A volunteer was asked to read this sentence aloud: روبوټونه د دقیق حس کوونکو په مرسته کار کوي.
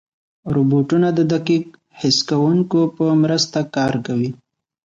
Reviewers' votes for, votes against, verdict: 2, 1, accepted